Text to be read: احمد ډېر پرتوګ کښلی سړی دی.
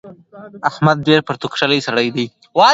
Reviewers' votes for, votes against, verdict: 1, 2, rejected